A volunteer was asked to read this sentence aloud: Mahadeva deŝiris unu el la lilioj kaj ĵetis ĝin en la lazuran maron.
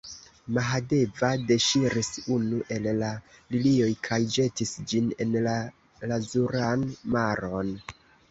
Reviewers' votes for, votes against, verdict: 1, 2, rejected